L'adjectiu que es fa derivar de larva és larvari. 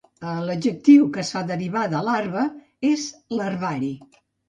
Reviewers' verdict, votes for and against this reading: rejected, 1, 2